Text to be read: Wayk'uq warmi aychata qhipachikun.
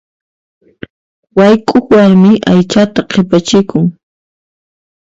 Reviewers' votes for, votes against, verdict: 2, 1, accepted